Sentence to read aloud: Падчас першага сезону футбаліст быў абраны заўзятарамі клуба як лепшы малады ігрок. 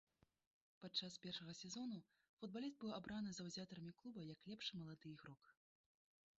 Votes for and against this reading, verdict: 1, 2, rejected